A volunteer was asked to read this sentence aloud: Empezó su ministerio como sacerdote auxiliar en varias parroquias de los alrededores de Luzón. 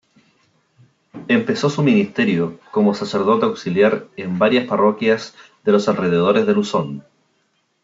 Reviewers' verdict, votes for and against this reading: accepted, 2, 0